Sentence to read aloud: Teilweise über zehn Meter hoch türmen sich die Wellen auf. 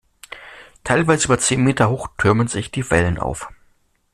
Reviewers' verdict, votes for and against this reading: accepted, 2, 0